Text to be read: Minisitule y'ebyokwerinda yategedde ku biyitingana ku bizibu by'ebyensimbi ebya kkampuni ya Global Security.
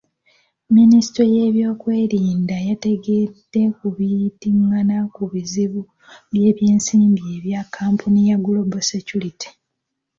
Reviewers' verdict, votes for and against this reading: rejected, 0, 2